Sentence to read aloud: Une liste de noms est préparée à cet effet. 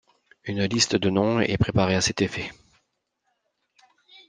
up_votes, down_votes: 2, 0